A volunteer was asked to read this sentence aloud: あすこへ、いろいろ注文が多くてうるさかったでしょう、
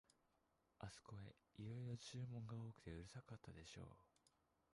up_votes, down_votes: 0, 2